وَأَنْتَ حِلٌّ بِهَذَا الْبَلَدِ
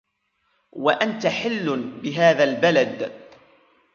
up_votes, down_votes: 2, 0